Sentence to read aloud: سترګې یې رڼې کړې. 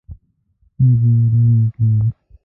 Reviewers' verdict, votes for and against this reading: rejected, 0, 2